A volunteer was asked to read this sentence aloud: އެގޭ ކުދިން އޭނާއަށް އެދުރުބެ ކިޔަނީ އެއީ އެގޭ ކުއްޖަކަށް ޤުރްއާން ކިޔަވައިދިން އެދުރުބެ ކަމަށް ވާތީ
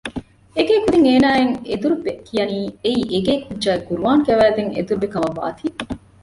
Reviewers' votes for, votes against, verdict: 1, 2, rejected